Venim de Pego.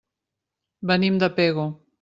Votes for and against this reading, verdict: 3, 0, accepted